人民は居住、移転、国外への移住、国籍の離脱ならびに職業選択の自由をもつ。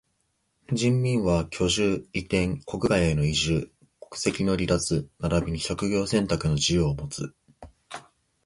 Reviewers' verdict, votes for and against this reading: accepted, 2, 1